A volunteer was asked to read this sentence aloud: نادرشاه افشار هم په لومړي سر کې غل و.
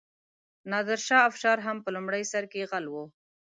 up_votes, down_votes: 2, 0